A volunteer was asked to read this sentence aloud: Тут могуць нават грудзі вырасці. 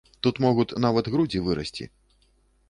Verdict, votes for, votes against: rejected, 1, 2